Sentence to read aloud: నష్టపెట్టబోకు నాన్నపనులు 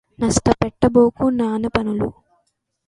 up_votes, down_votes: 2, 0